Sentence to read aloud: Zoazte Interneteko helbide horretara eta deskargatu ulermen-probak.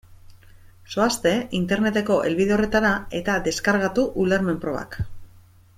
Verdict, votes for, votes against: accepted, 2, 0